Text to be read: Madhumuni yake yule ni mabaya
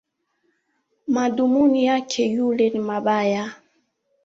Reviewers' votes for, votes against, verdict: 2, 0, accepted